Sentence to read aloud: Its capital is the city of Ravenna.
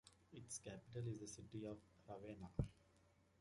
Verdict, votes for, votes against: accepted, 2, 0